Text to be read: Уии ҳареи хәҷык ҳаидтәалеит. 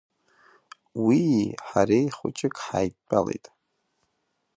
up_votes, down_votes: 2, 0